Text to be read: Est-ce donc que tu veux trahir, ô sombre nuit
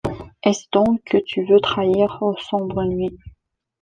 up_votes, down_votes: 2, 0